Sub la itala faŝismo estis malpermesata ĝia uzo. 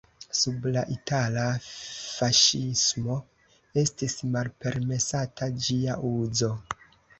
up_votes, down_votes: 1, 2